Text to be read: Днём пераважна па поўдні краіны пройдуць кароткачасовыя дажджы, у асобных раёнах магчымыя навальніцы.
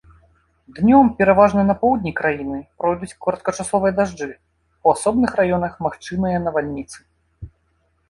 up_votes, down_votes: 0, 2